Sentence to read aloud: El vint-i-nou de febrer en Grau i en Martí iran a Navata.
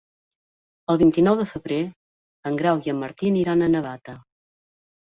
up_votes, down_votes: 0, 2